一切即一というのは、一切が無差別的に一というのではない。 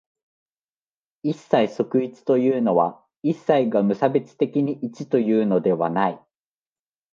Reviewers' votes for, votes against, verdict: 2, 0, accepted